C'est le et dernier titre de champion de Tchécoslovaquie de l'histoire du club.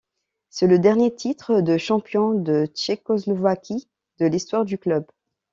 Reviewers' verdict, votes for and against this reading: rejected, 0, 2